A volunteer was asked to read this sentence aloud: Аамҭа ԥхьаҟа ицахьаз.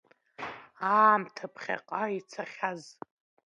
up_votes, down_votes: 3, 0